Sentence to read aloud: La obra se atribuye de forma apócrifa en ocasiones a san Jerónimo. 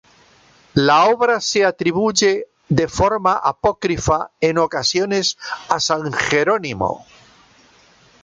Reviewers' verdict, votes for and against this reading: accepted, 2, 0